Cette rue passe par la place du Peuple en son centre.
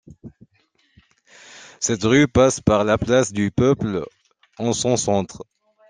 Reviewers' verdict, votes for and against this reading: accepted, 2, 1